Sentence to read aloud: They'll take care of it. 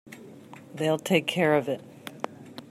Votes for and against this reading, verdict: 2, 0, accepted